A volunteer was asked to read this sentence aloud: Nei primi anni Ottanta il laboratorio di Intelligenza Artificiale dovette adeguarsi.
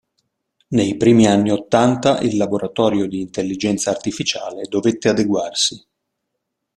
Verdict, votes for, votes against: accepted, 2, 0